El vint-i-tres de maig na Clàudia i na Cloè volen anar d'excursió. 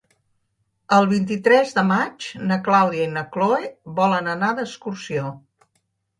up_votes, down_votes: 0, 2